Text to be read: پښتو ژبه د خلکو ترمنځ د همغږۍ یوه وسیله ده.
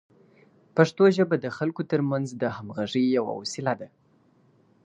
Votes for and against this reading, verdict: 2, 0, accepted